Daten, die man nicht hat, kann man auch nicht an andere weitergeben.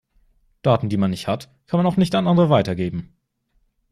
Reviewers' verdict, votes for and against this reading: accepted, 2, 0